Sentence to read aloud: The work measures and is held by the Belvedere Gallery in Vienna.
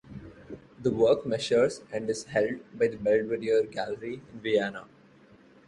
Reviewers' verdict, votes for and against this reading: accepted, 2, 1